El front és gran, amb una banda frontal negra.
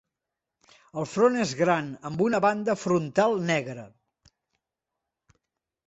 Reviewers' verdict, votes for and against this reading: accepted, 2, 0